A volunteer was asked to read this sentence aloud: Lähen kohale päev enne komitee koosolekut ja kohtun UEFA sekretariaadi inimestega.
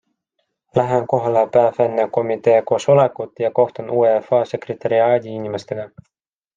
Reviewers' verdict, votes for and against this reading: accepted, 3, 0